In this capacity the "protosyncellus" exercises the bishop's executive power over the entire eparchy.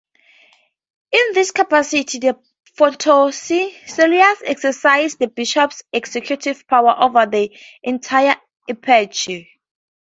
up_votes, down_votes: 4, 0